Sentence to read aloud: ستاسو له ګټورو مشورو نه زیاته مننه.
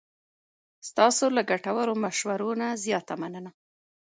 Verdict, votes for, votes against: accepted, 2, 0